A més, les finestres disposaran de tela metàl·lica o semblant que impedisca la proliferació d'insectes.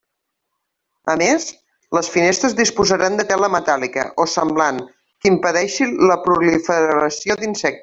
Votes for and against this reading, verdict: 0, 2, rejected